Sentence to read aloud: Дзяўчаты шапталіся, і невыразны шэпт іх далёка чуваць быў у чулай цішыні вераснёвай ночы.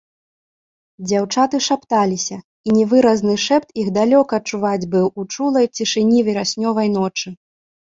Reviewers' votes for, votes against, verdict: 1, 2, rejected